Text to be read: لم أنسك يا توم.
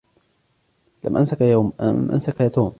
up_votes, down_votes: 0, 2